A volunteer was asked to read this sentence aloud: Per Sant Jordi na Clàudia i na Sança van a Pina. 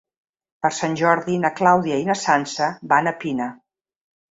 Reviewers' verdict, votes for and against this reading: accepted, 3, 0